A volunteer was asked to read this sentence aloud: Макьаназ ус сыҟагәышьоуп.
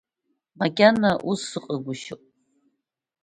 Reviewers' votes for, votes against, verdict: 1, 2, rejected